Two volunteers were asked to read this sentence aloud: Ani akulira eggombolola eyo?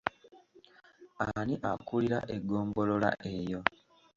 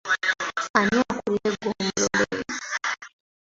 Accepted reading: first